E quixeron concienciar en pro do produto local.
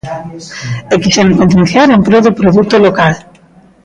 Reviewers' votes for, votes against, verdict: 1, 2, rejected